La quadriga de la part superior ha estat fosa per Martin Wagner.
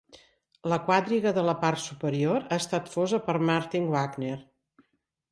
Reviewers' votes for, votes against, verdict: 3, 0, accepted